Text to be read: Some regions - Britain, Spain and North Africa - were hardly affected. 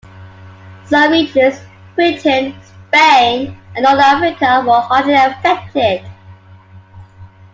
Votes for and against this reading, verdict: 0, 2, rejected